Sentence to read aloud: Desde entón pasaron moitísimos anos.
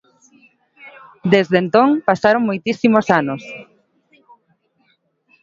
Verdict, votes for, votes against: accepted, 2, 0